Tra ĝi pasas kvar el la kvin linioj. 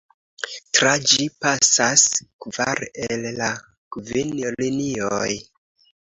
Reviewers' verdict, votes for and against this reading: accepted, 3, 0